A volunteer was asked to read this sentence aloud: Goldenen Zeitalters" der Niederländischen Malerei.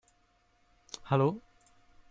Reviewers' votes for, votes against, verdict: 0, 2, rejected